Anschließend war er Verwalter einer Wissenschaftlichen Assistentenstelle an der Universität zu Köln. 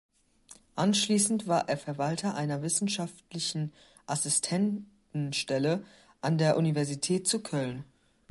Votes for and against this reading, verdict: 1, 2, rejected